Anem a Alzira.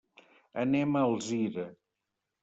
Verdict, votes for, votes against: accepted, 2, 0